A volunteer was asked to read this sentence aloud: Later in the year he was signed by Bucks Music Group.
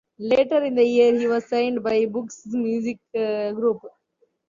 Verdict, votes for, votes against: rejected, 0, 2